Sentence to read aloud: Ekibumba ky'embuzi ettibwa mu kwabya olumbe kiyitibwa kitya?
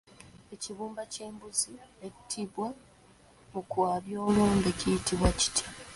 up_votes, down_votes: 2, 0